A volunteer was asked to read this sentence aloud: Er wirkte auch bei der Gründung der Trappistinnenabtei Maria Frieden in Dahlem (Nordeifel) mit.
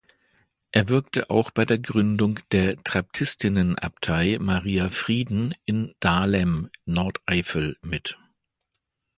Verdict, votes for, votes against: rejected, 0, 2